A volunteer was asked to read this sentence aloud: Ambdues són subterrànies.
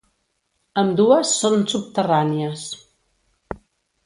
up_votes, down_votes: 2, 0